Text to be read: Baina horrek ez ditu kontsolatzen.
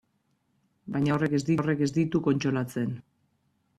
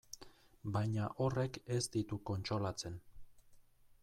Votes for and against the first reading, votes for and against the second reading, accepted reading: 1, 2, 2, 0, second